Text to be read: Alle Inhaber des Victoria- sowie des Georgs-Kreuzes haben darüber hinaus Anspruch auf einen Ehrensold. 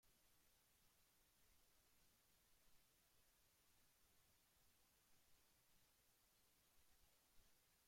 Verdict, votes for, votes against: rejected, 0, 2